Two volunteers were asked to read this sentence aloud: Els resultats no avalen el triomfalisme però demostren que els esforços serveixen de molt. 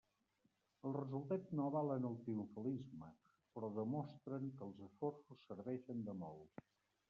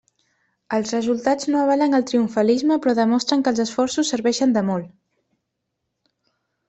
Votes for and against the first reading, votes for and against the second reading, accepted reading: 0, 3, 2, 0, second